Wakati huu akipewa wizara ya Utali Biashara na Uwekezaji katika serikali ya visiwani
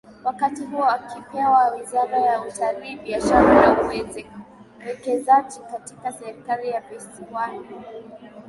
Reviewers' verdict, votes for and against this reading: accepted, 4, 1